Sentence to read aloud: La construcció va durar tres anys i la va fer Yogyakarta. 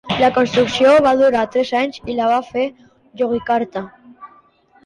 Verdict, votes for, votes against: accepted, 2, 0